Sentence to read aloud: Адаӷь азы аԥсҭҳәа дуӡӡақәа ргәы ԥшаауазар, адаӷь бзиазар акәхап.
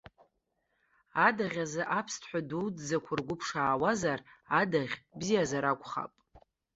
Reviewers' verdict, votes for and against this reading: accepted, 2, 0